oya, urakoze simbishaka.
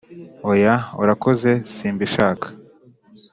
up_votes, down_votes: 2, 0